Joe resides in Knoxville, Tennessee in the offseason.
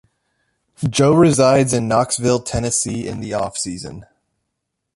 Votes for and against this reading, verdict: 0, 2, rejected